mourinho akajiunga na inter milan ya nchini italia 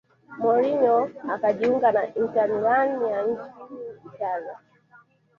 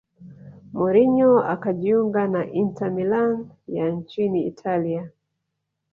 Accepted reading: first